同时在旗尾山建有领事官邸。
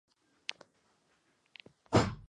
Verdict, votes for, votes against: rejected, 0, 2